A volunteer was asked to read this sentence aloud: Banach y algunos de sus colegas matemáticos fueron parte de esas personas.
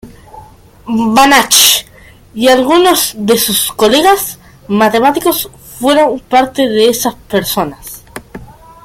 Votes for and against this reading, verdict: 2, 0, accepted